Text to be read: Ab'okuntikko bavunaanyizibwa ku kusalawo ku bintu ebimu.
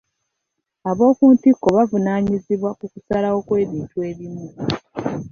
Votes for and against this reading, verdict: 2, 1, accepted